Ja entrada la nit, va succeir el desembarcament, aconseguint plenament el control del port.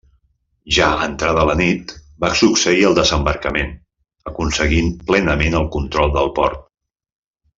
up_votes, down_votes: 1, 2